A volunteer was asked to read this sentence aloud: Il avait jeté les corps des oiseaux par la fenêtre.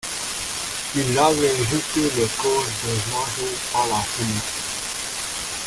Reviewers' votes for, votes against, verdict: 1, 2, rejected